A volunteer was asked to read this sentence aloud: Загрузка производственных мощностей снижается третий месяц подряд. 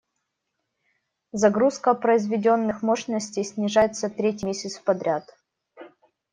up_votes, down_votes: 1, 2